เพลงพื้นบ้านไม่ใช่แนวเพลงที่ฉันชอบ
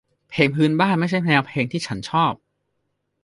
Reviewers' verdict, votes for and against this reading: accepted, 2, 0